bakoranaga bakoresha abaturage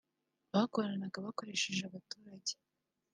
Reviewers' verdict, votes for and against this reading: rejected, 0, 2